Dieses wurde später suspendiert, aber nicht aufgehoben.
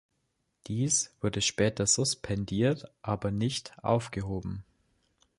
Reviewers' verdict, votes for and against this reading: rejected, 0, 2